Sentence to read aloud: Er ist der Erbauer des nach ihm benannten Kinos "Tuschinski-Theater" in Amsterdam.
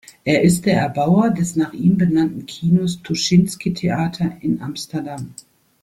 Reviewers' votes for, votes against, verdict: 2, 0, accepted